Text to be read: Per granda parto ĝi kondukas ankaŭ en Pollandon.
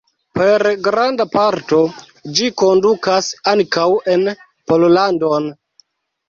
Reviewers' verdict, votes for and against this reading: accepted, 3, 0